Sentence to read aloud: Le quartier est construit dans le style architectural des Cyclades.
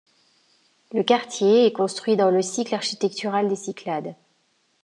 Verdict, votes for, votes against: rejected, 1, 2